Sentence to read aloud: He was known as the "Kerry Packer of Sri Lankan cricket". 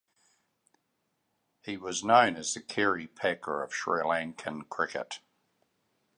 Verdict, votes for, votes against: accepted, 2, 0